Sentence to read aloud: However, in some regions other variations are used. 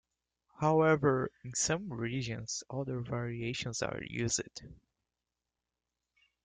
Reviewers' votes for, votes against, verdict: 0, 2, rejected